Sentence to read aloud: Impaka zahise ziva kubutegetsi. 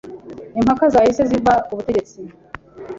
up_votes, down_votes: 2, 0